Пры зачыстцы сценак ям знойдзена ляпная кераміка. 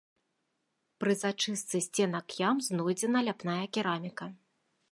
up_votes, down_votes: 2, 0